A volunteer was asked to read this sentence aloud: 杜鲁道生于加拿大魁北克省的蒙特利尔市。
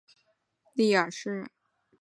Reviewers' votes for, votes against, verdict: 0, 2, rejected